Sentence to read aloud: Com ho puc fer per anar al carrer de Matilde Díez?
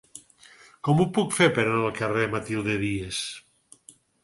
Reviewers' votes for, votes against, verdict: 0, 4, rejected